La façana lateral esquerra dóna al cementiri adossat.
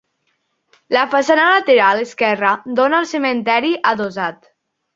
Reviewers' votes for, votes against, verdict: 1, 2, rejected